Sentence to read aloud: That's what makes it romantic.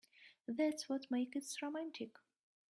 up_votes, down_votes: 1, 2